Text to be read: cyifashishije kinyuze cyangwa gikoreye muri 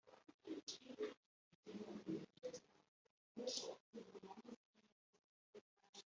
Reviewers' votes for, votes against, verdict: 0, 2, rejected